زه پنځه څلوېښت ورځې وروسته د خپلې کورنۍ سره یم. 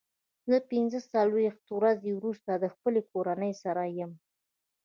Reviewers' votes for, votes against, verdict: 2, 0, accepted